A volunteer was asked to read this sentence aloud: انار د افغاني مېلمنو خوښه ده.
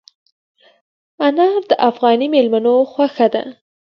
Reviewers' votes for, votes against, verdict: 3, 0, accepted